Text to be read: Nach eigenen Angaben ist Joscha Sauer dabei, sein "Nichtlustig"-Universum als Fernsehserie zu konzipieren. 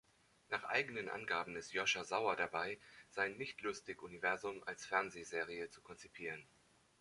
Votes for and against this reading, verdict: 2, 0, accepted